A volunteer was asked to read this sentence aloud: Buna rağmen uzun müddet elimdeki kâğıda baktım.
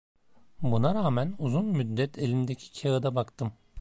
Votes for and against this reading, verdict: 2, 0, accepted